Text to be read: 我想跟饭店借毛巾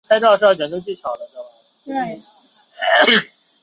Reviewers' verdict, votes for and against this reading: rejected, 0, 5